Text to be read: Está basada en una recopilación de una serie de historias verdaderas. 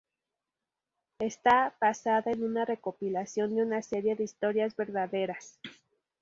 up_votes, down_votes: 2, 0